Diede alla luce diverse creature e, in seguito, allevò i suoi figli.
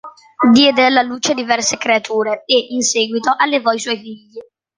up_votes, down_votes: 2, 0